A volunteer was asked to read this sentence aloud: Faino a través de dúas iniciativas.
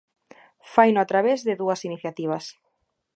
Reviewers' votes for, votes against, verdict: 2, 0, accepted